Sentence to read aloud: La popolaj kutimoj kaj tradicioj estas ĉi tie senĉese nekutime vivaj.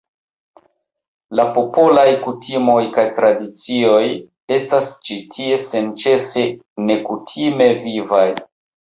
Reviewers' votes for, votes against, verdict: 1, 2, rejected